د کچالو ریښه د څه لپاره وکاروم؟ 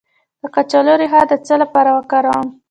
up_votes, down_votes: 0, 2